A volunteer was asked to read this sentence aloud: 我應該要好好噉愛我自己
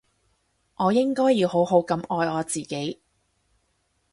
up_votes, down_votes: 4, 0